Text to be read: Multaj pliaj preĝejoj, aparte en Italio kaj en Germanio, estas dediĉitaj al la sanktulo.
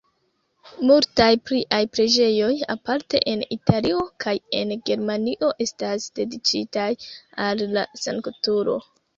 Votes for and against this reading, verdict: 1, 2, rejected